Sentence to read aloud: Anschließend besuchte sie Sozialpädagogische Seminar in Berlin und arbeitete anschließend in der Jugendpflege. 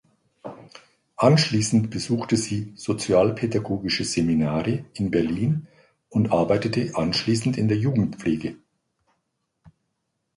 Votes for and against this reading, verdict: 1, 2, rejected